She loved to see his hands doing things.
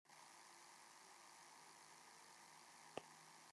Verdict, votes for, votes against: rejected, 0, 2